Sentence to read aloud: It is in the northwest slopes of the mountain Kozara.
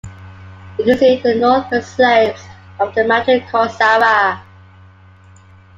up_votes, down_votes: 1, 2